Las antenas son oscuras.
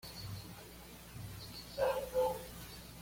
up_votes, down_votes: 0, 2